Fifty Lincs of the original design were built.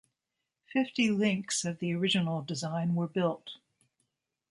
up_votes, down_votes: 1, 2